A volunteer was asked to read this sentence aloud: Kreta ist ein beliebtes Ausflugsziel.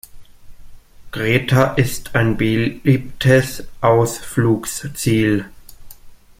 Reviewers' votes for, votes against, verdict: 1, 2, rejected